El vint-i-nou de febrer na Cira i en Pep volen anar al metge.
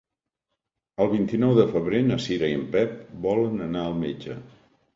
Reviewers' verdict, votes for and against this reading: accepted, 3, 0